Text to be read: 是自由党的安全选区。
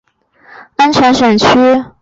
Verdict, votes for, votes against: rejected, 0, 2